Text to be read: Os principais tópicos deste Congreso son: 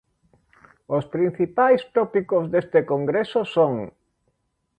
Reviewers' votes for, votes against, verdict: 2, 0, accepted